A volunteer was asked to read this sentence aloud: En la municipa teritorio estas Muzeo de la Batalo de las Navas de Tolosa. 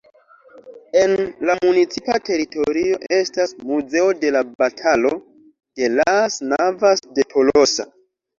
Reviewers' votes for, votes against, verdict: 2, 1, accepted